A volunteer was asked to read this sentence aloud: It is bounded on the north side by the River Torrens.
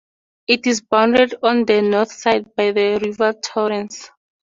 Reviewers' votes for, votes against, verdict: 4, 0, accepted